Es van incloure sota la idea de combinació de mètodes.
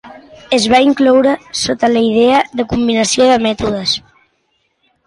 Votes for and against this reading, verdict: 2, 1, accepted